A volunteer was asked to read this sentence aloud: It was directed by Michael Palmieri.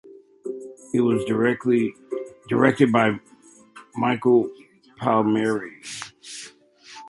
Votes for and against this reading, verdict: 0, 2, rejected